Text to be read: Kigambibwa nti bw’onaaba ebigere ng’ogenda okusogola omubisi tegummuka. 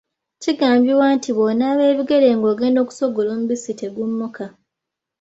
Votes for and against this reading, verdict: 2, 0, accepted